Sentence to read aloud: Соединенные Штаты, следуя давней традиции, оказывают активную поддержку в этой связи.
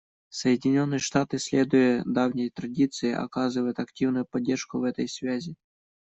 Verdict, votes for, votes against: accepted, 2, 0